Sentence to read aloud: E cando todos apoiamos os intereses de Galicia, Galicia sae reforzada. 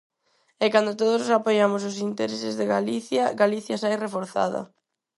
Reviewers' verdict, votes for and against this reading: accepted, 4, 0